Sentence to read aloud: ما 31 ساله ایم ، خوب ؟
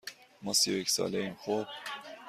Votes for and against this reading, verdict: 0, 2, rejected